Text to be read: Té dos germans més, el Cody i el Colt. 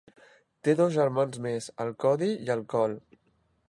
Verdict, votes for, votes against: accepted, 2, 0